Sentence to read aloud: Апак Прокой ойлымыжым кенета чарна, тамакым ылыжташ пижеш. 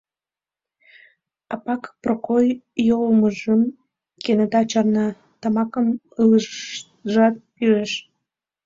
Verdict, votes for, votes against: rejected, 0, 2